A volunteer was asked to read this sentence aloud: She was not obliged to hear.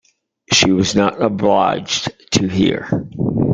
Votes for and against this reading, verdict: 2, 0, accepted